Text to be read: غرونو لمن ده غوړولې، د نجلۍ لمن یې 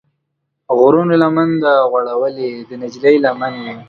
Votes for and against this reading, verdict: 0, 2, rejected